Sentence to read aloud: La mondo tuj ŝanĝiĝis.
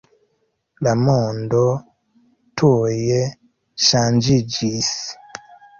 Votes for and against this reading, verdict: 1, 2, rejected